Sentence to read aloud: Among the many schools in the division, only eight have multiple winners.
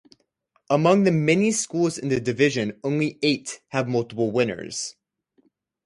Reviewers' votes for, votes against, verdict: 4, 0, accepted